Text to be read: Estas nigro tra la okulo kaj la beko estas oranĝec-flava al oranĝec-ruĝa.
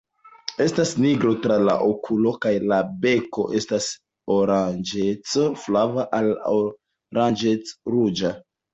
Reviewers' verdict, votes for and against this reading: accepted, 2, 0